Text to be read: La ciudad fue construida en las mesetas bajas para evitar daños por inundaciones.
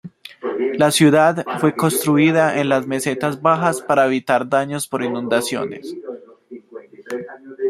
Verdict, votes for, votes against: accepted, 2, 0